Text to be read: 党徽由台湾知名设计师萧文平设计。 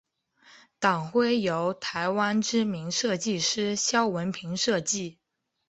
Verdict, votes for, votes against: accepted, 3, 0